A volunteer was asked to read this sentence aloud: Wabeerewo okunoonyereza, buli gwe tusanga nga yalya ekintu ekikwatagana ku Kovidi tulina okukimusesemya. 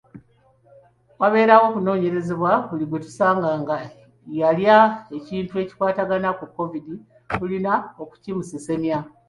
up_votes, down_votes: 0, 2